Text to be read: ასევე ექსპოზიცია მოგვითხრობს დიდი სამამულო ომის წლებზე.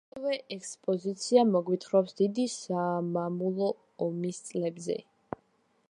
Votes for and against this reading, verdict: 2, 1, accepted